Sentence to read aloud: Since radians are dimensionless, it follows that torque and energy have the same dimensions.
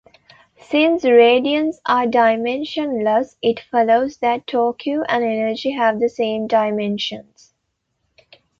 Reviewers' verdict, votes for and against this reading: rejected, 0, 2